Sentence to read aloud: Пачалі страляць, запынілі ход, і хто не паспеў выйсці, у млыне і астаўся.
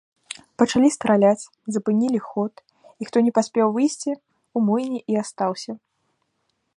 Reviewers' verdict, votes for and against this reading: accepted, 2, 0